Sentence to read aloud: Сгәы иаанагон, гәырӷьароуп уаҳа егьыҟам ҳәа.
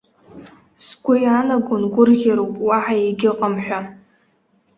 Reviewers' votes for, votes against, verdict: 2, 0, accepted